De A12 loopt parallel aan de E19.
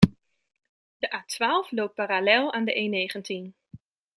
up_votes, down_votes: 0, 2